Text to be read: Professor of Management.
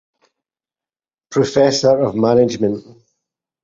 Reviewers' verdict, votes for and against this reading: rejected, 2, 2